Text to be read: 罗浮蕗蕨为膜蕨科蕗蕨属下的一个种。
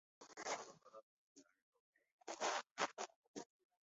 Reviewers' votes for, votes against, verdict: 2, 3, rejected